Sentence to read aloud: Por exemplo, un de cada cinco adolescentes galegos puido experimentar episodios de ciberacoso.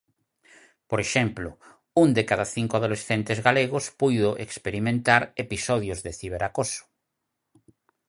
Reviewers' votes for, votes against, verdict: 4, 0, accepted